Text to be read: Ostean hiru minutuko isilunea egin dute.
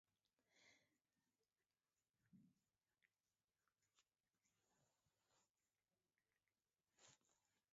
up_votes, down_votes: 0, 2